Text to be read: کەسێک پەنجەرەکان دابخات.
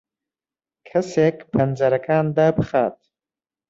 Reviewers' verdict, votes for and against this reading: accepted, 2, 1